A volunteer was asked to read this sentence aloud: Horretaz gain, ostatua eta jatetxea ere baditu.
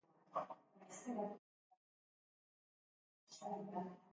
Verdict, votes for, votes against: rejected, 0, 2